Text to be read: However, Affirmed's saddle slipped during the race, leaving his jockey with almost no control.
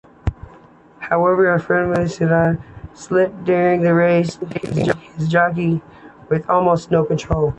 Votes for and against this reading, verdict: 2, 0, accepted